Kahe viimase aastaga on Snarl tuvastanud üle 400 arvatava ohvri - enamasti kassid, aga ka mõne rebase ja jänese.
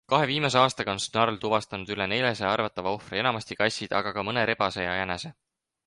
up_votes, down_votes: 0, 2